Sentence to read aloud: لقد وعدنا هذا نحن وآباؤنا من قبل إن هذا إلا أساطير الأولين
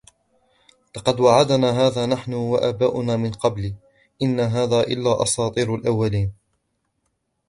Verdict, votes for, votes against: rejected, 0, 2